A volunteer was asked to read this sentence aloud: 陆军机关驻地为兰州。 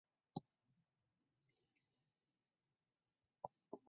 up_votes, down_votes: 0, 2